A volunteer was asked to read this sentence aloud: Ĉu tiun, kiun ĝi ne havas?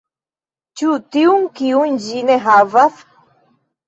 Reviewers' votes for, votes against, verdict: 2, 0, accepted